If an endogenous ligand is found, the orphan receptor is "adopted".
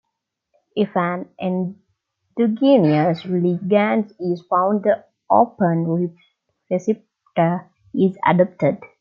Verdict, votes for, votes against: rejected, 0, 2